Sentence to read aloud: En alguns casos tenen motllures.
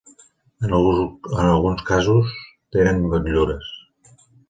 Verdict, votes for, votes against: rejected, 0, 2